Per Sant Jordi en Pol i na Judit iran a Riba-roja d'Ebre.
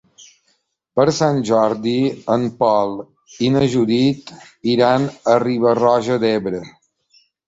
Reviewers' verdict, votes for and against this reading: accepted, 3, 0